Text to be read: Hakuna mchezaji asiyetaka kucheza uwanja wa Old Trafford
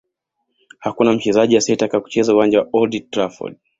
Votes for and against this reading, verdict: 2, 0, accepted